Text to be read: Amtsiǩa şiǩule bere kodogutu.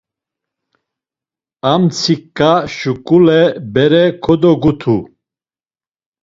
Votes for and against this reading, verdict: 1, 2, rejected